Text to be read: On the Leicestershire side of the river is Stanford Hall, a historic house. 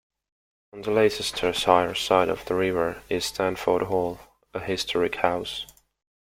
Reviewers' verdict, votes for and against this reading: rejected, 1, 2